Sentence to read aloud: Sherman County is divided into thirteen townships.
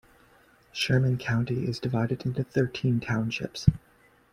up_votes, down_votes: 2, 0